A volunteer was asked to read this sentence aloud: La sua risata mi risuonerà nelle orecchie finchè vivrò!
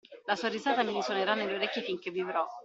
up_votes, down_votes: 1, 2